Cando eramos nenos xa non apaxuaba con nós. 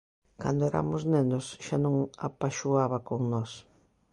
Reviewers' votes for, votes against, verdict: 1, 2, rejected